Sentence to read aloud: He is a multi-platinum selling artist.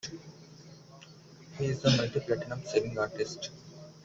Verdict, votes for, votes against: accepted, 2, 0